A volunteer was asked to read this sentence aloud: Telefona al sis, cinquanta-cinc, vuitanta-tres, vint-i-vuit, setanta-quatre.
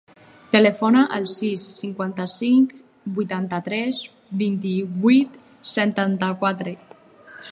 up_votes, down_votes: 6, 0